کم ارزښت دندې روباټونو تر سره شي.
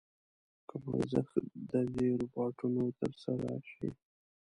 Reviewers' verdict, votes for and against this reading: rejected, 1, 2